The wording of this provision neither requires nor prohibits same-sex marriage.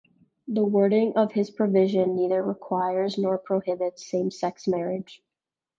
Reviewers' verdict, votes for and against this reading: accepted, 2, 0